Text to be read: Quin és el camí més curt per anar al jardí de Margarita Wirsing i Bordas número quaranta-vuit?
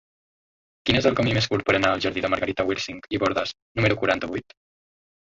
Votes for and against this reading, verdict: 2, 1, accepted